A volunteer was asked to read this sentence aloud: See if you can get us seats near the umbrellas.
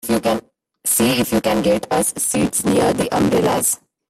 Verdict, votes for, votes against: rejected, 0, 2